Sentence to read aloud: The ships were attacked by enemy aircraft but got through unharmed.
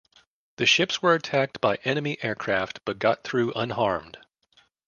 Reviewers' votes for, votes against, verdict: 2, 0, accepted